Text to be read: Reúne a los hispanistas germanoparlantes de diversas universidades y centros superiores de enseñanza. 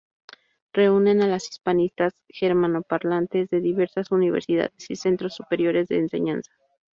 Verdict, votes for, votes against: rejected, 0, 2